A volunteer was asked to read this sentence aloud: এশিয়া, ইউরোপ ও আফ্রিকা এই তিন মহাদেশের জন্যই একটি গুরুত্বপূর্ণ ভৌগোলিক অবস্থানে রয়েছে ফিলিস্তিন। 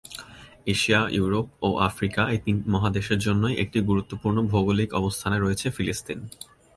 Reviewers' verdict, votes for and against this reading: accepted, 2, 0